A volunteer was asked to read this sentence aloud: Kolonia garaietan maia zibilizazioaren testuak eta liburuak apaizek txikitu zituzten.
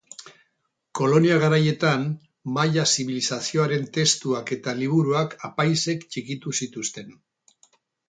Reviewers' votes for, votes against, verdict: 4, 0, accepted